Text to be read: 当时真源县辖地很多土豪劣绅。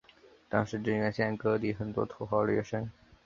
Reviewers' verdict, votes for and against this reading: accepted, 3, 1